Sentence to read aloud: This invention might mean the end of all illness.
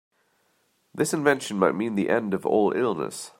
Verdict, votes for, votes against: accepted, 2, 0